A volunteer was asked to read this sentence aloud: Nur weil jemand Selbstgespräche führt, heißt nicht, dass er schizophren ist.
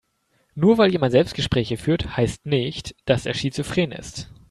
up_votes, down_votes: 2, 0